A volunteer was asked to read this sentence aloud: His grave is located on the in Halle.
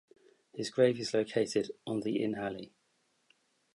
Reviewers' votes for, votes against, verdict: 4, 0, accepted